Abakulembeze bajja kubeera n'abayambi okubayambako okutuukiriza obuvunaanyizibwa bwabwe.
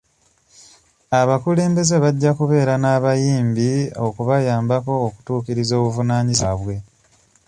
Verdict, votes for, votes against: rejected, 1, 2